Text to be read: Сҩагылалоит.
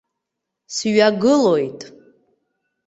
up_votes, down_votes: 1, 2